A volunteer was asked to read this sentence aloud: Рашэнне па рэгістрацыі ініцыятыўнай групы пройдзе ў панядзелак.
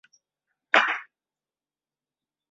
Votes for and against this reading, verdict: 0, 2, rejected